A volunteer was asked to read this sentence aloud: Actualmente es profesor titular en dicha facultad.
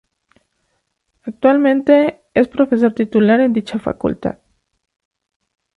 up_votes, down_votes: 2, 0